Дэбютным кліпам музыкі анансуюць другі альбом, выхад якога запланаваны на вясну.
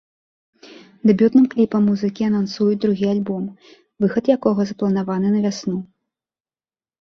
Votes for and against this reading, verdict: 2, 0, accepted